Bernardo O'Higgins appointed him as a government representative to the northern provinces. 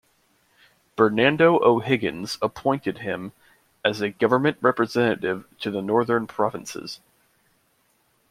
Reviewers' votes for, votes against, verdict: 1, 2, rejected